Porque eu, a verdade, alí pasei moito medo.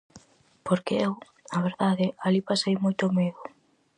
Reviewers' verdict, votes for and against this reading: accepted, 2, 0